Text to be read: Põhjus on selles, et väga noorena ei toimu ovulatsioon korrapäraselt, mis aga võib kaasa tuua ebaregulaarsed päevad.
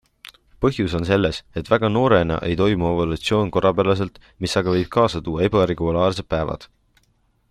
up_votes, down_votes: 2, 0